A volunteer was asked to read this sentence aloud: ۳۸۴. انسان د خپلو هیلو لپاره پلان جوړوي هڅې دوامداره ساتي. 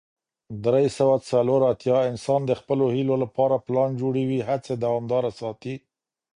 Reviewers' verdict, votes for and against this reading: rejected, 0, 2